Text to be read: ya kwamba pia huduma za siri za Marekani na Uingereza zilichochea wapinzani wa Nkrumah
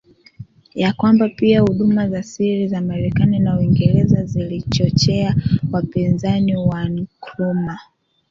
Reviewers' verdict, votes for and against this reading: accepted, 2, 1